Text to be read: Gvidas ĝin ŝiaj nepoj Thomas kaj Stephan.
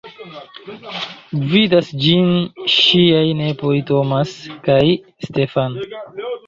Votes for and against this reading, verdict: 1, 2, rejected